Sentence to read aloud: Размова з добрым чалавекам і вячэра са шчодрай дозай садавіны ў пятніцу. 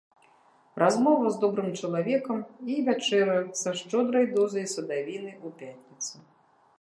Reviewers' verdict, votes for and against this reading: rejected, 0, 2